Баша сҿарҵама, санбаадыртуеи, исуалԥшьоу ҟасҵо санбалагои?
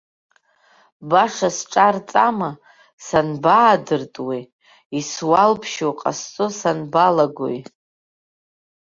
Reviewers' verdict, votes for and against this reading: accepted, 2, 0